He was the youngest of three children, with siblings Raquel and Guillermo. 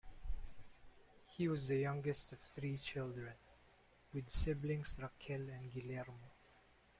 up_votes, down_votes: 2, 0